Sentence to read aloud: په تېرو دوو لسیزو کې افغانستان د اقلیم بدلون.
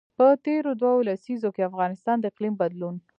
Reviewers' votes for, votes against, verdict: 2, 0, accepted